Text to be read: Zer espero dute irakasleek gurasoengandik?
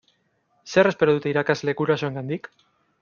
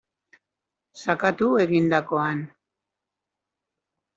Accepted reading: first